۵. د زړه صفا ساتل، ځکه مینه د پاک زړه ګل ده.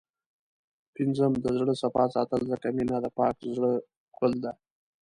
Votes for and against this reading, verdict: 0, 2, rejected